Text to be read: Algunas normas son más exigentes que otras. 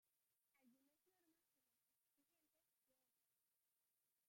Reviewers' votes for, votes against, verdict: 0, 2, rejected